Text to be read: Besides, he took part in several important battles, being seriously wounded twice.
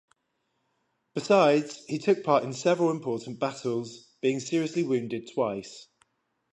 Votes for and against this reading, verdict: 10, 0, accepted